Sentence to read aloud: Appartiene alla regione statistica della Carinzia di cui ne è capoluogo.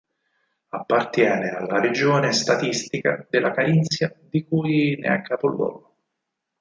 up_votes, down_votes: 4, 0